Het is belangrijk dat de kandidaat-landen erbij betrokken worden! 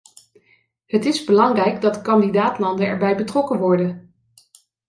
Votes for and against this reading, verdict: 1, 2, rejected